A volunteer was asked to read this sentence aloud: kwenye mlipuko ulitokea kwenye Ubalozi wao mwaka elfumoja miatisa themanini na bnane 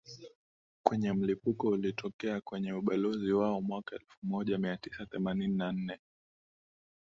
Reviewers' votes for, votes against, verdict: 2, 0, accepted